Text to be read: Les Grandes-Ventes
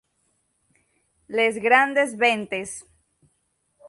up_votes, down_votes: 0, 3